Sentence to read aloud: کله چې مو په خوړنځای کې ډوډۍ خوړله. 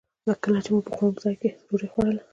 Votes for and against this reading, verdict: 0, 2, rejected